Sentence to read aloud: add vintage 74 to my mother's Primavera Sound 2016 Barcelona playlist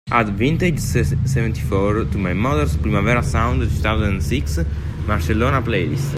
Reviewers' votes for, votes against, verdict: 0, 2, rejected